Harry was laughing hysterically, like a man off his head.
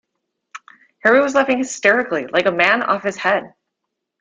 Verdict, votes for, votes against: accepted, 2, 0